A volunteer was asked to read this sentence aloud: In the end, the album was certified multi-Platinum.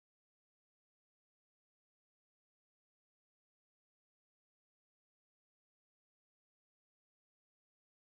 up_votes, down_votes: 0, 2